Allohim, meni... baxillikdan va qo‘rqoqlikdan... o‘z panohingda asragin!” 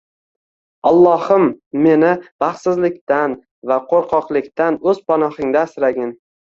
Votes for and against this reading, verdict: 1, 2, rejected